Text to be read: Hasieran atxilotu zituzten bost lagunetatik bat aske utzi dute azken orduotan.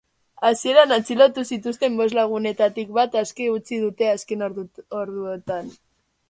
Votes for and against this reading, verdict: 1, 2, rejected